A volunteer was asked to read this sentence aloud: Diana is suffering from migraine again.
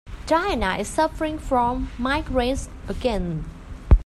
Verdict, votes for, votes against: rejected, 1, 2